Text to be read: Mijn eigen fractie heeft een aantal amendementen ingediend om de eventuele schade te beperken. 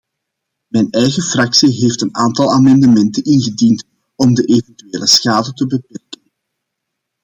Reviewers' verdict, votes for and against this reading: rejected, 0, 2